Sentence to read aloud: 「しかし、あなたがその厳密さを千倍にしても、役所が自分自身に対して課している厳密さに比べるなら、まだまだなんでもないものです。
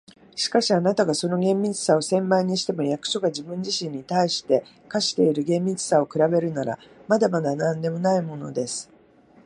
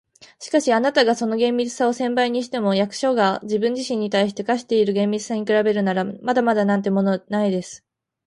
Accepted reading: first